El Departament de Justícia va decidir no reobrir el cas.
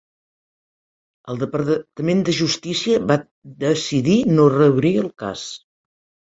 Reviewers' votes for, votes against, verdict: 2, 1, accepted